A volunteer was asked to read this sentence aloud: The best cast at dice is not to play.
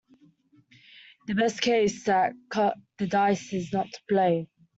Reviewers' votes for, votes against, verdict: 0, 2, rejected